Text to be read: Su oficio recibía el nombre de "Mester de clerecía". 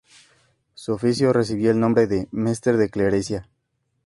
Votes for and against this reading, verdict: 4, 0, accepted